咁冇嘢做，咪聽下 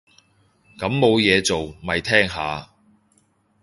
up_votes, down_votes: 2, 0